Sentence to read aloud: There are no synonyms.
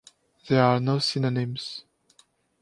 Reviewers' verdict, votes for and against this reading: accepted, 2, 0